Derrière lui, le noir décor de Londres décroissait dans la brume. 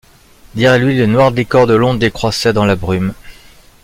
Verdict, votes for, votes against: rejected, 1, 2